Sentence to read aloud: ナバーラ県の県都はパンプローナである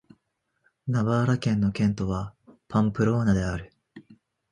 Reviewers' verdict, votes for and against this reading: accepted, 2, 0